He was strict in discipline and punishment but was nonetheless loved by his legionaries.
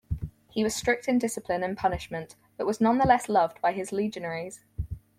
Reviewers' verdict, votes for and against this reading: accepted, 4, 0